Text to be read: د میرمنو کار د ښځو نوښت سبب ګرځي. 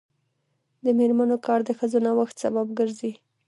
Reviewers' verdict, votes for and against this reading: accepted, 2, 1